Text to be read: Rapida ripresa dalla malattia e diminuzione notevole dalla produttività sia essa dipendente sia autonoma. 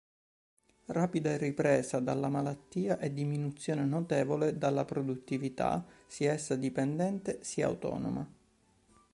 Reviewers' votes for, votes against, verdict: 2, 0, accepted